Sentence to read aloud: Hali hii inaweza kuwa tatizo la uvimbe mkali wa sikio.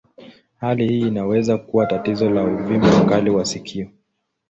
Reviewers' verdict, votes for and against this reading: rejected, 0, 2